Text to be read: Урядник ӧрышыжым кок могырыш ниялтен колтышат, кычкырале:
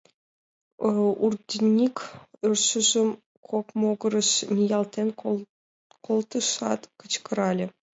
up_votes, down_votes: 0, 2